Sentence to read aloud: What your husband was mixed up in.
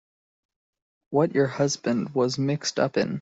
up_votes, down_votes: 2, 0